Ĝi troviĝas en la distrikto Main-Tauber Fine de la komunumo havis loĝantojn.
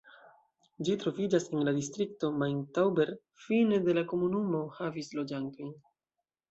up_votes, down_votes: 2, 1